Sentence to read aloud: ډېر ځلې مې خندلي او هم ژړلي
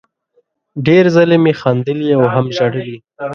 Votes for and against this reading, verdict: 2, 1, accepted